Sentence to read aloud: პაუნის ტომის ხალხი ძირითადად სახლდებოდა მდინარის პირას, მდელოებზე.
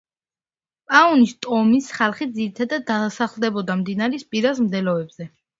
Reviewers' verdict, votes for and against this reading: accepted, 2, 0